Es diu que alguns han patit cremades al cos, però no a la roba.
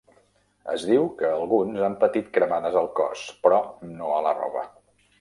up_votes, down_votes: 0, 2